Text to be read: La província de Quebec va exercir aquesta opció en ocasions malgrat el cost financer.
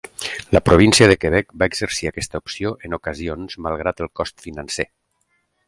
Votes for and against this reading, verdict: 4, 0, accepted